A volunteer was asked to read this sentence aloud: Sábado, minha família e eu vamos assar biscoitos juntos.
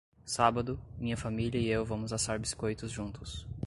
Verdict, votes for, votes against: accepted, 2, 0